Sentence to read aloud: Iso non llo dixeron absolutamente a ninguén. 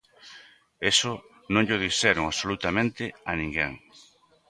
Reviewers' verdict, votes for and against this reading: rejected, 1, 2